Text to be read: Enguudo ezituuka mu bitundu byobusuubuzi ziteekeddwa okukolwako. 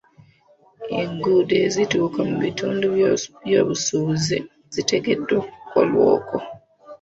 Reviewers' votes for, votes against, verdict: 0, 2, rejected